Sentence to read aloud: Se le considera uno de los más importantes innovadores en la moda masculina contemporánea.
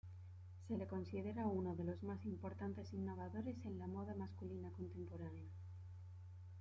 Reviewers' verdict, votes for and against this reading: rejected, 1, 2